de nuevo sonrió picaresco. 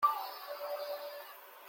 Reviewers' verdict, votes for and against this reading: rejected, 0, 2